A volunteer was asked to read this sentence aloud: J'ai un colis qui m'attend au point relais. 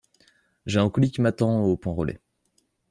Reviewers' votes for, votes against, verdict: 2, 0, accepted